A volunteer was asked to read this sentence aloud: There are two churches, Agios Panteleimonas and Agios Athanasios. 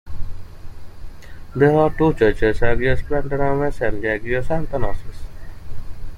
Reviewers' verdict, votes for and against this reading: accepted, 3, 2